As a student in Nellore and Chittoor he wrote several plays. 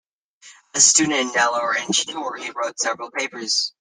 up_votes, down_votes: 1, 2